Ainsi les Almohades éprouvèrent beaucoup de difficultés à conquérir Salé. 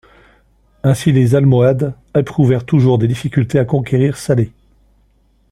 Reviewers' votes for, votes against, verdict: 1, 2, rejected